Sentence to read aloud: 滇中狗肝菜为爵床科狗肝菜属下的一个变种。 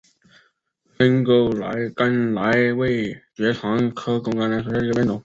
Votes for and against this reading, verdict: 2, 0, accepted